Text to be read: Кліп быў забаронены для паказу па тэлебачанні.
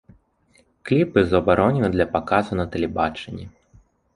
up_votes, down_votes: 0, 2